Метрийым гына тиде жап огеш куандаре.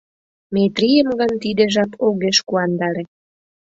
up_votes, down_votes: 0, 2